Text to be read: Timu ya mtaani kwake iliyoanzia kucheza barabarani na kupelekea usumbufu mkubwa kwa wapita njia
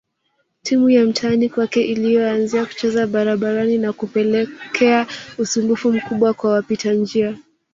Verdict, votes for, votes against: rejected, 0, 2